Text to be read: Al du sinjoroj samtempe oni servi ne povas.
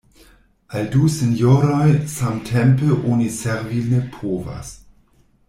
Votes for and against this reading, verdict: 2, 0, accepted